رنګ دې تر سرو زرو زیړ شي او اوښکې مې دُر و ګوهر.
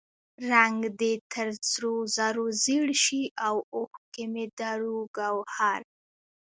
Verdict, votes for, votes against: rejected, 1, 2